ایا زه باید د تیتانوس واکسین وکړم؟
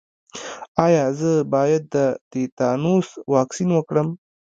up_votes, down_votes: 2, 1